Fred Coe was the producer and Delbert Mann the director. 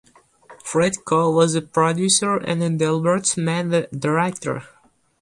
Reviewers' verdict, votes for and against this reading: rejected, 2, 2